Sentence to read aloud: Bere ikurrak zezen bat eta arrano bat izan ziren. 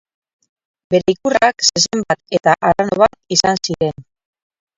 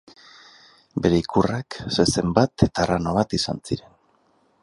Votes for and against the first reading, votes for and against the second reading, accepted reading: 2, 2, 4, 0, second